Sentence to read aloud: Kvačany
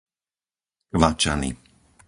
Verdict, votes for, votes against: rejected, 0, 4